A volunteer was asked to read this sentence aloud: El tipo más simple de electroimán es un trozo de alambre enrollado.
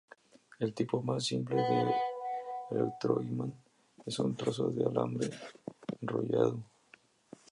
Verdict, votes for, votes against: accepted, 2, 0